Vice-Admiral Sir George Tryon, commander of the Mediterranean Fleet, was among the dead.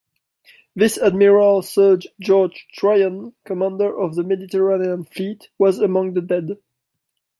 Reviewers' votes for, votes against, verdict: 0, 2, rejected